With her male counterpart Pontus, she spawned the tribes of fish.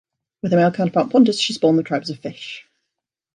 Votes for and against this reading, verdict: 1, 2, rejected